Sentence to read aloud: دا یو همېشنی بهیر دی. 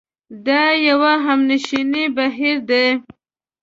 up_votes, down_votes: 0, 2